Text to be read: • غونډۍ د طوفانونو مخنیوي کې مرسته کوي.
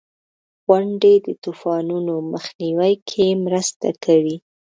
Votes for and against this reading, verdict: 1, 3, rejected